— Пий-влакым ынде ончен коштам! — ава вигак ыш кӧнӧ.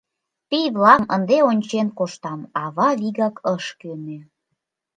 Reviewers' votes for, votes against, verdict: 1, 2, rejected